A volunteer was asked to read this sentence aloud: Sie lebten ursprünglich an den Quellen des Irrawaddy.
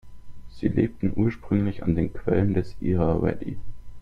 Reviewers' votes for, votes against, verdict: 1, 2, rejected